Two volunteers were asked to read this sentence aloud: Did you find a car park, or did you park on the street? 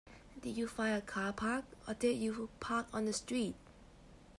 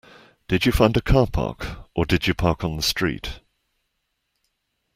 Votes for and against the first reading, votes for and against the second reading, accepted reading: 1, 2, 2, 0, second